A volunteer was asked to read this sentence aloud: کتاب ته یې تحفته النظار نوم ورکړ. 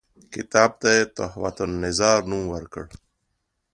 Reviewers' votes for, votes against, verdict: 3, 0, accepted